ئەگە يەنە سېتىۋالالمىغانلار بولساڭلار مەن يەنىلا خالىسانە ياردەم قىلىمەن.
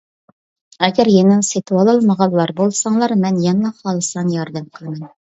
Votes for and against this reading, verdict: 0, 2, rejected